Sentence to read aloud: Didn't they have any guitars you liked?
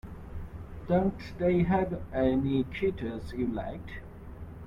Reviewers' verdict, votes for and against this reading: rejected, 0, 2